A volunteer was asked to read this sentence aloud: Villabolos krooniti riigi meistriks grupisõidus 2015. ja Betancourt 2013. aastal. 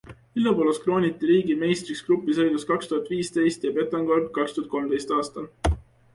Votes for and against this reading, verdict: 0, 2, rejected